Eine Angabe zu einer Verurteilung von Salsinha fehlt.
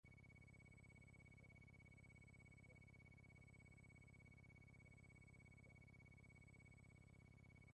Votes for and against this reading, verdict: 0, 2, rejected